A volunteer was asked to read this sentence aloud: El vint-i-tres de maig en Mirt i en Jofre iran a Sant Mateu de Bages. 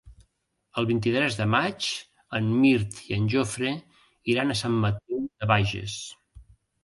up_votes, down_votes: 0, 2